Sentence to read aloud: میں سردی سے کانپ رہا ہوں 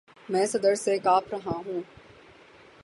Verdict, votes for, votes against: rejected, 0, 6